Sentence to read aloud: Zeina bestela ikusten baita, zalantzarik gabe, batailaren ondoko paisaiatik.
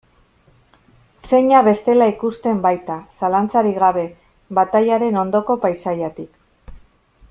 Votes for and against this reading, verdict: 1, 2, rejected